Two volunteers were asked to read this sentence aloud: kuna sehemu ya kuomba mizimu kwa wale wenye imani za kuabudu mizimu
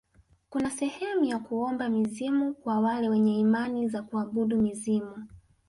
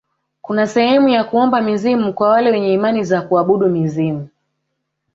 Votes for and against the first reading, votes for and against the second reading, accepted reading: 2, 1, 1, 2, first